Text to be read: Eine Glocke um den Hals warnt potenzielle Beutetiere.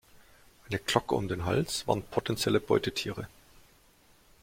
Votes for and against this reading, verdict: 2, 0, accepted